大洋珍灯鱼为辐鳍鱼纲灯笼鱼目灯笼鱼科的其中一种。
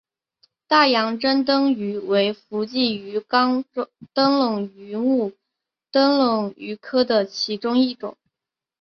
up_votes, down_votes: 4, 1